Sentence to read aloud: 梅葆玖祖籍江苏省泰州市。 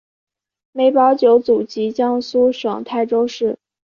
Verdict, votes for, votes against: accepted, 2, 0